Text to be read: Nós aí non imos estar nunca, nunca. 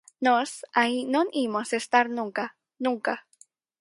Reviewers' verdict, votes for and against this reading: rejected, 0, 4